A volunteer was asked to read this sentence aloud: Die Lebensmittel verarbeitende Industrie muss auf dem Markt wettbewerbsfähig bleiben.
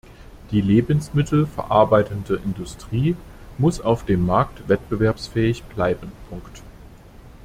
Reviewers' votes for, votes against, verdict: 0, 2, rejected